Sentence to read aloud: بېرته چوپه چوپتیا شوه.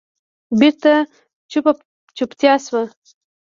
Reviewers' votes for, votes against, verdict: 1, 2, rejected